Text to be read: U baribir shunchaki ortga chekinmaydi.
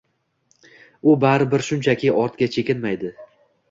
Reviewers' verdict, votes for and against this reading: accepted, 2, 0